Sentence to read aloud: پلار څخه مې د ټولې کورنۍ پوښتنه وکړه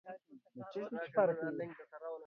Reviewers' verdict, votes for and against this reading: rejected, 0, 2